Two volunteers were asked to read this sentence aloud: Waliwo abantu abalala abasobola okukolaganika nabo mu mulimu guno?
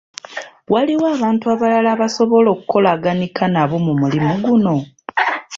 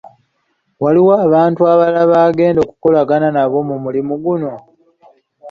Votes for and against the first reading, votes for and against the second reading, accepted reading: 2, 1, 0, 2, first